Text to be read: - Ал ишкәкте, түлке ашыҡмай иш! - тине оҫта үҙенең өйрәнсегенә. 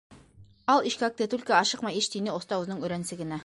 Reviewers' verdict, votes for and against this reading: rejected, 0, 2